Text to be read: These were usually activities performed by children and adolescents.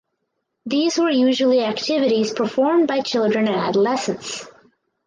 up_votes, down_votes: 4, 0